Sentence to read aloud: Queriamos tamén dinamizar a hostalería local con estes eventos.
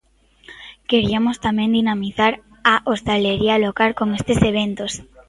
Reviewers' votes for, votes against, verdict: 1, 2, rejected